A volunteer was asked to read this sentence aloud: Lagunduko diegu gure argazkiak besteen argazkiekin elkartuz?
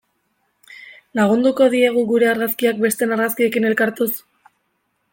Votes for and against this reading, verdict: 2, 0, accepted